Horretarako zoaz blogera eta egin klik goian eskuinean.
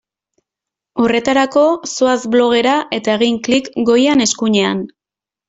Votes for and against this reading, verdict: 3, 0, accepted